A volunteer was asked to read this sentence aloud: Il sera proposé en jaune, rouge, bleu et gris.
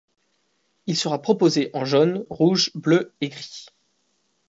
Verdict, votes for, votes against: accepted, 2, 0